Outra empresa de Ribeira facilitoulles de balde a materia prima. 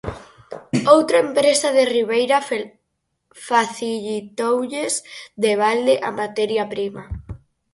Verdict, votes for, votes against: rejected, 2, 4